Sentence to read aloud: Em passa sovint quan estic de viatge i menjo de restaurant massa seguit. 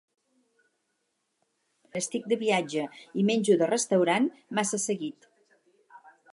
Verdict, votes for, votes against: rejected, 2, 4